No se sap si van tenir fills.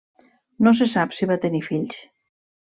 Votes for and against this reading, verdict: 0, 2, rejected